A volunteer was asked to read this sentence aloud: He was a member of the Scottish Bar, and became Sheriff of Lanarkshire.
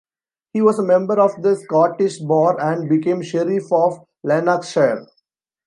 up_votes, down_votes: 0, 2